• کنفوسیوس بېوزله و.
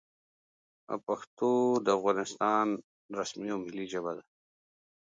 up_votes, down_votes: 0, 2